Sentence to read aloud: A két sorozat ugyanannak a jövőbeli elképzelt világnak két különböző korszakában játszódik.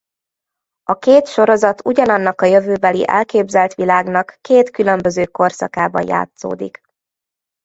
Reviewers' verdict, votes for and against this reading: accepted, 2, 0